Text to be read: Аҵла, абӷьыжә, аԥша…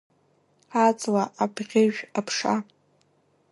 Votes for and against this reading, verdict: 1, 2, rejected